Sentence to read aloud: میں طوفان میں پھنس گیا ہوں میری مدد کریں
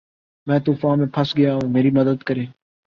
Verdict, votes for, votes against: accepted, 10, 0